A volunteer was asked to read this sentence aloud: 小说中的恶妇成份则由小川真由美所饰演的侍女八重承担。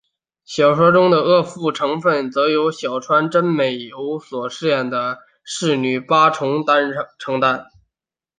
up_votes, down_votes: 0, 2